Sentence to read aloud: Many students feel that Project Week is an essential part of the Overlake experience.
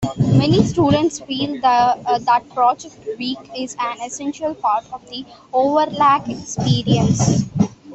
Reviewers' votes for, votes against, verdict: 0, 2, rejected